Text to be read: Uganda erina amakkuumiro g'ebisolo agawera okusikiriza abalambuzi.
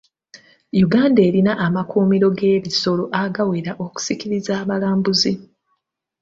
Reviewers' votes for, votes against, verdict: 3, 0, accepted